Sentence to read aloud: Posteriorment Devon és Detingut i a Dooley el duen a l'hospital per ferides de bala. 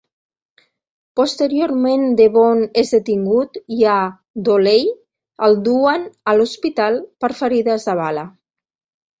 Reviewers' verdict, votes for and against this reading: rejected, 1, 2